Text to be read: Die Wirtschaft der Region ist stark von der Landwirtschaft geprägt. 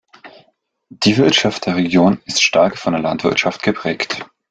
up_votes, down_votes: 2, 0